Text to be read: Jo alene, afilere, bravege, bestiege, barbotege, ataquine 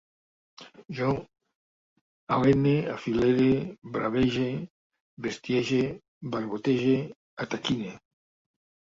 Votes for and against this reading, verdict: 1, 2, rejected